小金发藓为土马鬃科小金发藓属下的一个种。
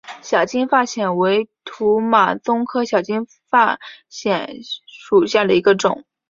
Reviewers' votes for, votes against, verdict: 5, 2, accepted